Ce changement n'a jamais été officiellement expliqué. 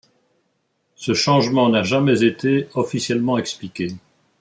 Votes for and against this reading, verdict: 2, 0, accepted